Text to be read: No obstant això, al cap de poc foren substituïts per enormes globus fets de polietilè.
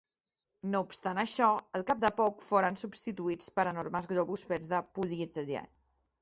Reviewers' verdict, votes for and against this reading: rejected, 0, 2